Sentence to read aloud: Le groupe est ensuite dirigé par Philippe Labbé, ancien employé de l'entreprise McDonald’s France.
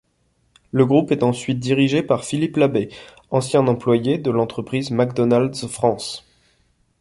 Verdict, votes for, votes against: accepted, 2, 0